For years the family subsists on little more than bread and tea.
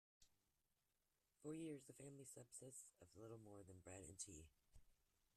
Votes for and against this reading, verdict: 2, 1, accepted